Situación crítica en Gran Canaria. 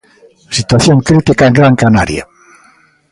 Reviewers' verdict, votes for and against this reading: accepted, 2, 0